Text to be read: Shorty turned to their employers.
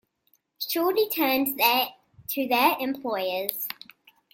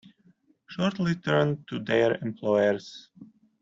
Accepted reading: second